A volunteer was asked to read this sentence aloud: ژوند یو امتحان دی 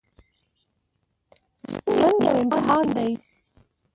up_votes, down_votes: 0, 2